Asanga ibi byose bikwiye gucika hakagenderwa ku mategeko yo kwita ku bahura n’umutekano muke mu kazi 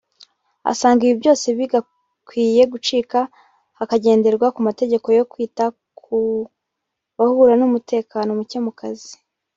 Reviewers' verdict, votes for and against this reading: rejected, 1, 2